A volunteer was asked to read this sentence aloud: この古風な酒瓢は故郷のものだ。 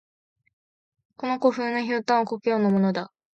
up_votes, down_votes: 2, 0